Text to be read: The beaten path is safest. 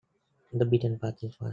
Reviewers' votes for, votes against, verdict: 0, 2, rejected